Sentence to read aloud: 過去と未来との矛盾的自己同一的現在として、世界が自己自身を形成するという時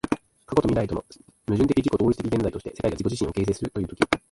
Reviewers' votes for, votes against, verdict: 2, 1, accepted